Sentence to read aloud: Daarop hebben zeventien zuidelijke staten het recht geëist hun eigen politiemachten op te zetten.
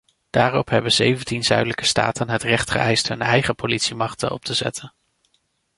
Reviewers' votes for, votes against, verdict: 2, 0, accepted